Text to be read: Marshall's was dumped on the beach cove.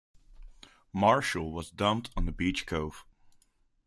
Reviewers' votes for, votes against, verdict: 1, 2, rejected